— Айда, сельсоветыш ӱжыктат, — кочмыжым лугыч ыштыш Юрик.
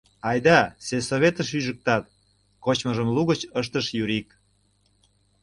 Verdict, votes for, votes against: accepted, 2, 0